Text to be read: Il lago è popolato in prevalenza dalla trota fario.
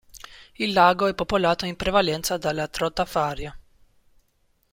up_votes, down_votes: 2, 0